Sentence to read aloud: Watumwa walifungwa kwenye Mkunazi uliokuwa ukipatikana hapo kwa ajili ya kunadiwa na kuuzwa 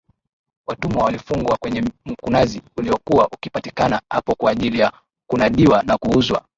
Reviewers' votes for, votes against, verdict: 9, 3, accepted